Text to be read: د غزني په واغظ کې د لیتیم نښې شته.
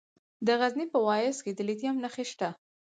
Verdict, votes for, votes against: rejected, 2, 4